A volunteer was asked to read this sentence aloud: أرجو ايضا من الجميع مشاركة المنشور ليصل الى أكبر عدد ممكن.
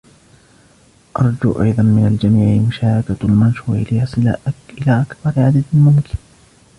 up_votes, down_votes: 1, 2